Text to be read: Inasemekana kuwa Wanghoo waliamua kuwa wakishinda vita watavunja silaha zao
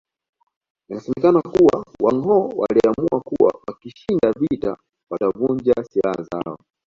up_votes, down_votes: 2, 0